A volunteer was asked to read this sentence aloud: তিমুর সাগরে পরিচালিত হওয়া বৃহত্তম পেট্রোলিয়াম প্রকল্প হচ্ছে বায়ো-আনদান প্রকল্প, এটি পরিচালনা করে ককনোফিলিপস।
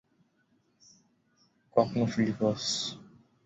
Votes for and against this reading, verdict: 0, 5, rejected